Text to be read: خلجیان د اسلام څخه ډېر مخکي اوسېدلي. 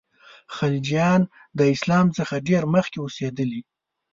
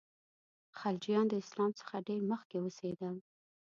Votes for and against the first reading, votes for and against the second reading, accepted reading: 3, 0, 1, 2, first